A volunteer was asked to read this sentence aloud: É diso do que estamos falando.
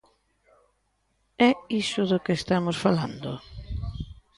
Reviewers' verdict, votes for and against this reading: rejected, 0, 2